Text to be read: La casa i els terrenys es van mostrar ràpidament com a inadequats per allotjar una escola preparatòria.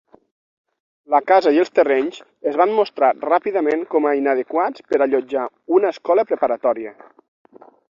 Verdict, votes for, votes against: accepted, 6, 0